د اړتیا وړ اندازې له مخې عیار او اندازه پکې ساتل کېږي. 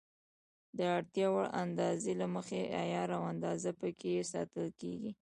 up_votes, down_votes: 1, 2